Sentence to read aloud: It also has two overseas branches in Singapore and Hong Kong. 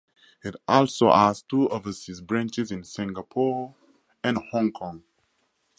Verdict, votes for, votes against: rejected, 2, 2